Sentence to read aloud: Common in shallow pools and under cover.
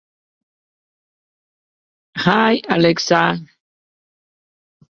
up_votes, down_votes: 0, 2